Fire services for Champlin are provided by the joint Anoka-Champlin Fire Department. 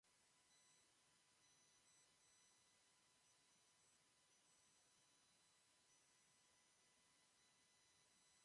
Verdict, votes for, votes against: rejected, 0, 2